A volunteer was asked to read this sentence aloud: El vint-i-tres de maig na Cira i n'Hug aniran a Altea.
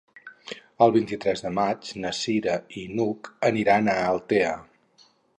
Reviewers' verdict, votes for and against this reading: accepted, 4, 0